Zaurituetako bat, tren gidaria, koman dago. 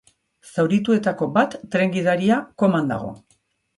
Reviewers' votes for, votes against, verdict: 3, 0, accepted